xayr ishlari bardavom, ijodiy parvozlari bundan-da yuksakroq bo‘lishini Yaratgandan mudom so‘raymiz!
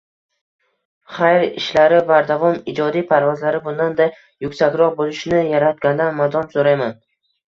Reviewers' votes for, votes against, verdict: 0, 2, rejected